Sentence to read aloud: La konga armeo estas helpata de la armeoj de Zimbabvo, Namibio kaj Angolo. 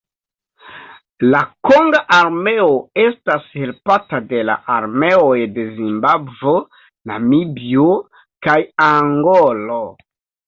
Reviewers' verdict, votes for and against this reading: accepted, 2, 0